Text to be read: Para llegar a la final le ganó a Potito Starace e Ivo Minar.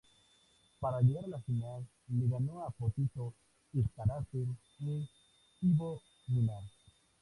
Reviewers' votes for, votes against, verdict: 2, 0, accepted